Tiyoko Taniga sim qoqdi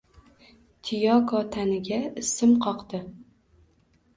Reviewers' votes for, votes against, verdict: 1, 2, rejected